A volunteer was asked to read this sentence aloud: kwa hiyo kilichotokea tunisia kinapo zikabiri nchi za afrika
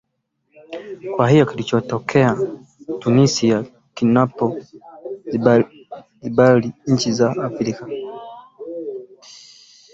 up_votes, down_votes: 0, 2